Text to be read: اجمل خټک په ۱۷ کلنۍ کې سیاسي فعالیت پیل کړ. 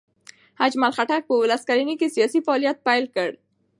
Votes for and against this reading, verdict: 0, 2, rejected